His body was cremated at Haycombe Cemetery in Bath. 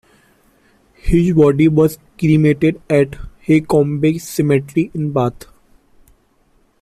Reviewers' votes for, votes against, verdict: 1, 2, rejected